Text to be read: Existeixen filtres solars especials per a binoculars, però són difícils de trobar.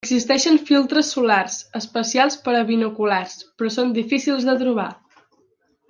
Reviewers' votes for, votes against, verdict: 0, 2, rejected